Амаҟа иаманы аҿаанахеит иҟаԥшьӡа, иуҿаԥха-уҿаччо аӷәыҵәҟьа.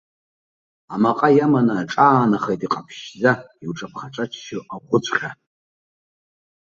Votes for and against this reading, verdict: 1, 2, rejected